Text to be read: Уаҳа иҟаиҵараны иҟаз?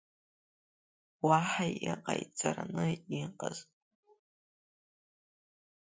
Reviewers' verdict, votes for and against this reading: rejected, 0, 2